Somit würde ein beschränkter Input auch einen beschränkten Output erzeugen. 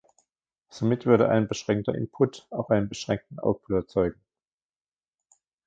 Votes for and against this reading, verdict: 0, 2, rejected